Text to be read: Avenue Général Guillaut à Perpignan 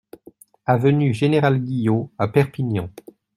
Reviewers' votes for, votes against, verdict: 2, 0, accepted